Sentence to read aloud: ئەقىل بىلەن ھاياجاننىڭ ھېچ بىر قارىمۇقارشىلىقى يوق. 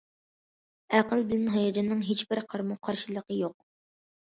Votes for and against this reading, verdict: 2, 0, accepted